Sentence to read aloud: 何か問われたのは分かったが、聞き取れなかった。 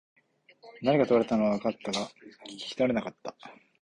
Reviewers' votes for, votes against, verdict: 2, 0, accepted